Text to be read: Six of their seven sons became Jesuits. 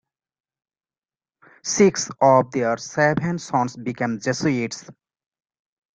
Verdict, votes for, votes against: accepted, 2, 1